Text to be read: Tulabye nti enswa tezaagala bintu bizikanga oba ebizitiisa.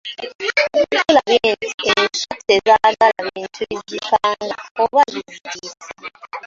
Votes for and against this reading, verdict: 0, 2, rejected